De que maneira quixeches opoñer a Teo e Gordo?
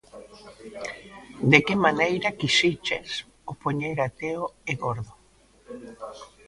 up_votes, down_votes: 0, 2